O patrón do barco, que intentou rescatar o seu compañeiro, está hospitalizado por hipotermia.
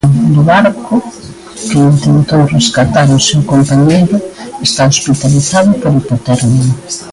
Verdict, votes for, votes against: rejected, 1, 2